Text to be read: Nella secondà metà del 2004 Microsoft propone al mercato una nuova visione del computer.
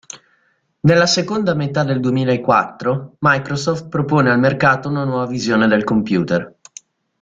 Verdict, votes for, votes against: rejected, 0, 2